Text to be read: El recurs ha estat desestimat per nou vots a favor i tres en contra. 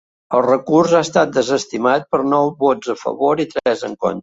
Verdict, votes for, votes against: accepted, 2, 0